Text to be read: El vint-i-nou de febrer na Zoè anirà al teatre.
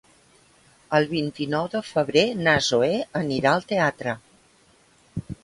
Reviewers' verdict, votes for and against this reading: accepted, 3, 0